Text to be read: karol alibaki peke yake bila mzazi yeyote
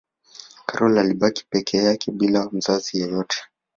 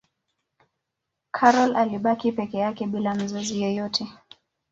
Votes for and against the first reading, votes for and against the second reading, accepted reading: 1, 2, 2, 0, second